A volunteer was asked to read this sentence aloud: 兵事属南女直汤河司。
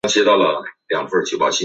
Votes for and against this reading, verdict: 0, 3, rejected